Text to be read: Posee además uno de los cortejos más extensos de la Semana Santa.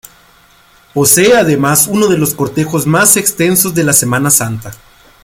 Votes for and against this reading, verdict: 2, 0, accepted